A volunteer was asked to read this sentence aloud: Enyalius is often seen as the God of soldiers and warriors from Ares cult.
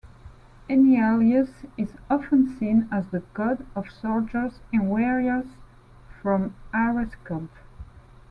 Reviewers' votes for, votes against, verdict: 1, 2, rejected